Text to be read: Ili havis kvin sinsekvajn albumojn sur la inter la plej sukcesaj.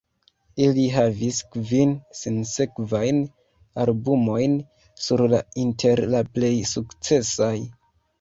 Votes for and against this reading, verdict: 1, 2, rejected